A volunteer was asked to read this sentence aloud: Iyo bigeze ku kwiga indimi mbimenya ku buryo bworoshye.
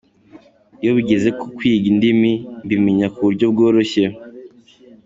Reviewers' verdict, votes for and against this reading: accepted, 3, 1